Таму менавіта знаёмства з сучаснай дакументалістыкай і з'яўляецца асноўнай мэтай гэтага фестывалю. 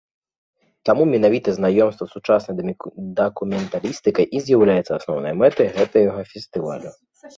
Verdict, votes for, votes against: rejected, 1, 2